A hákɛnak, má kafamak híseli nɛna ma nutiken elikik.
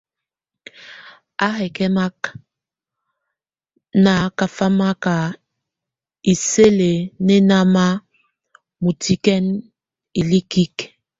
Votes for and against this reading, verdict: 1, 2, rejected